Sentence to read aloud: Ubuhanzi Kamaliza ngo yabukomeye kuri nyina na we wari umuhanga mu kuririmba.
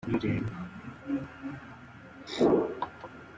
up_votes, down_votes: 0, 2